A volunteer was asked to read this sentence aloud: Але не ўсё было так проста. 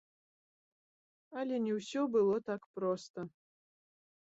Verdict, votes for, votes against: accepted, 2, 1